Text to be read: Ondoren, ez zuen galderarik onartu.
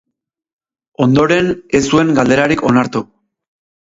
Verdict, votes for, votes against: rejected, 0, 2